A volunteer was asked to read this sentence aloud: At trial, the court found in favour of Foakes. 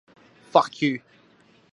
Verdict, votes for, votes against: rejected, 0, 2